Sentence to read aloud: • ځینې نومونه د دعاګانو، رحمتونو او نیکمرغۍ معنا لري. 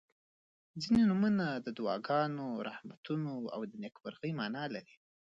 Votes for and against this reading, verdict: 2, 1, accepted